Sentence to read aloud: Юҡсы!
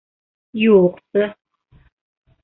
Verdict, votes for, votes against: rejected, 1, 2